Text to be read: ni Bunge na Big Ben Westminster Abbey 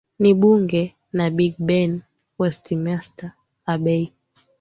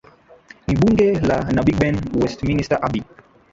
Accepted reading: first